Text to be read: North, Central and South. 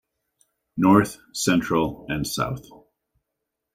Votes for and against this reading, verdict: 2, 0, accepted